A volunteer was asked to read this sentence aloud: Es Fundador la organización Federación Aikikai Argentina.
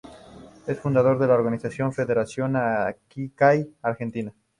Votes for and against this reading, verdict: 2, 2, rejected